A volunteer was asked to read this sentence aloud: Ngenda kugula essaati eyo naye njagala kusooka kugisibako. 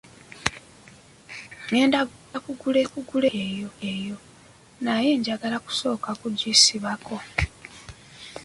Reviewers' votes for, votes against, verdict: 0, 2, rejected